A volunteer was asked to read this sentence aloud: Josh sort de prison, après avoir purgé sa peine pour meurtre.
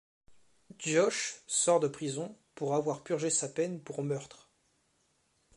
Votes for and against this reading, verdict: 0, 2, rejected